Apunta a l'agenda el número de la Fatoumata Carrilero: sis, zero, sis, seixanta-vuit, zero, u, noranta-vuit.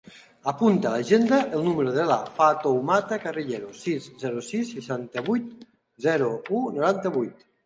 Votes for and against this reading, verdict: 2, 0, accepted